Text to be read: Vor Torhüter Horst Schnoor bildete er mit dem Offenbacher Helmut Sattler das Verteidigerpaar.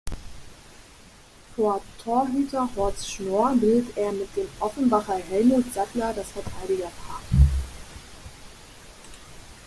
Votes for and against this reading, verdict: 0, 2, rejected